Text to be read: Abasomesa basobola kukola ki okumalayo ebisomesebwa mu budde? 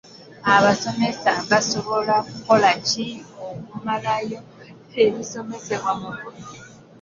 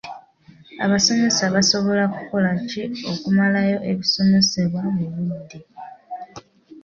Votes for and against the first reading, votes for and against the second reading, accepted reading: 1, 2, 2, 0, second